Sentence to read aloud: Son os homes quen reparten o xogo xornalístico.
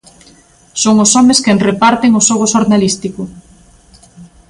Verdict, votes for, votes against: accepted, 2, 0